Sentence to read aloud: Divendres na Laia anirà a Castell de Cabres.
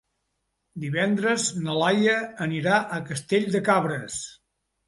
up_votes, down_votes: 3, 0